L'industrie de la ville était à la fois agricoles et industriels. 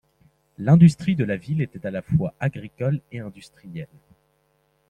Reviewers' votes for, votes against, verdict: 2, 0, accepted